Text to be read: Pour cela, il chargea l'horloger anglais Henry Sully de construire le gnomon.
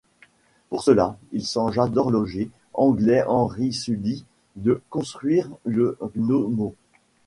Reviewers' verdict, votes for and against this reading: rejected, 2, 3